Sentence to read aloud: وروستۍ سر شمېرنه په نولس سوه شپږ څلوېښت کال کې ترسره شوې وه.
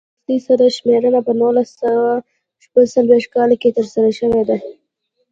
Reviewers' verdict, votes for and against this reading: accepted, 2, 0